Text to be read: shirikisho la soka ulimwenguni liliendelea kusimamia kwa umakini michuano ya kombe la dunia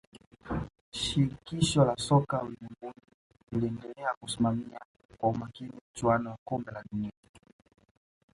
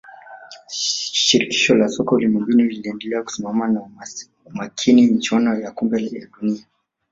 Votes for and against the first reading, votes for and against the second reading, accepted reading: 2, 0, 1, 2, first